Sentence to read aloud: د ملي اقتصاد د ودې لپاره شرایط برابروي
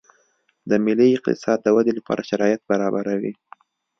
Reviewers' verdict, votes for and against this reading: accepted, 2, 0